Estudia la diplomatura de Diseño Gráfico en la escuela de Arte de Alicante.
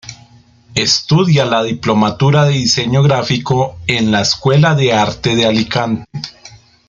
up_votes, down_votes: 1, 2